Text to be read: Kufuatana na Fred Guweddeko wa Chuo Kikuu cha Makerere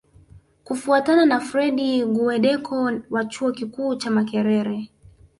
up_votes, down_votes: 2, 0